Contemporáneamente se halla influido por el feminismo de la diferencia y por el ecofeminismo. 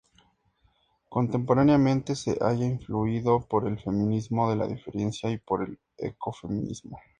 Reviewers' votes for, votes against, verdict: 4, 0, accepted